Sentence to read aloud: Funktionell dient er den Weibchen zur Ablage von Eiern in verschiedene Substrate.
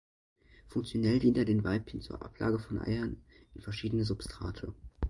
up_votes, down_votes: 2, 0